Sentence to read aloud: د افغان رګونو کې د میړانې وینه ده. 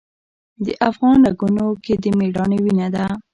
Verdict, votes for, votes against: accepted, 2, 1